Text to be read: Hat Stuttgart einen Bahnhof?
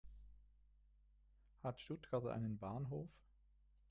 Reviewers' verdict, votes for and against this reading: rejected, 0, 2